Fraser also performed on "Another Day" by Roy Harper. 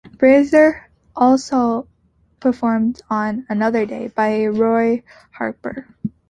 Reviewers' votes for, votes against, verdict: 2, 0, accepted